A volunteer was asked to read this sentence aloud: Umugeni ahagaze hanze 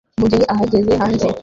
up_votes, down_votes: 0, 3